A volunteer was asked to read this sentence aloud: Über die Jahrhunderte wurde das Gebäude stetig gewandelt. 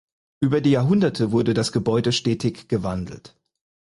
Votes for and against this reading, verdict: 4, 0, accepted